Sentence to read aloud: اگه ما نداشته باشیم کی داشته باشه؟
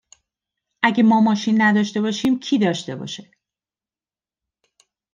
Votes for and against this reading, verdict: 1, 2, rejected